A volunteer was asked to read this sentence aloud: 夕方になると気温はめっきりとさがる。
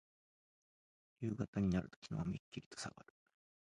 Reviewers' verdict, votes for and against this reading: rejected, 0, 2